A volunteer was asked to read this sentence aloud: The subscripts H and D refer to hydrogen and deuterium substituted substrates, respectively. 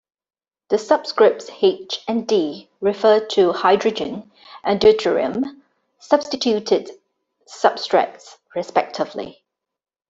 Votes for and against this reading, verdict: 2, 0, accepted